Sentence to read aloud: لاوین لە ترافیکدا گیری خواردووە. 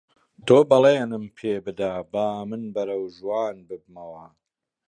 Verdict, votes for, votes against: rejected, 0, 2